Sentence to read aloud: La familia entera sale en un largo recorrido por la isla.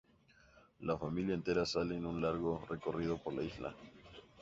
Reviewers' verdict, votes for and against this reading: accepted, 2, 0